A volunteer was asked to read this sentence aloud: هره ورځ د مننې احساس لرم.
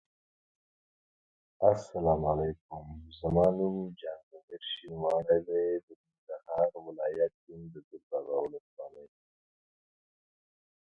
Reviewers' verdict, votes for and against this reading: rejected, 1, 2